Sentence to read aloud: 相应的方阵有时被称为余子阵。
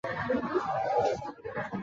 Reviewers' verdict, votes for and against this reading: rejected, 0, 2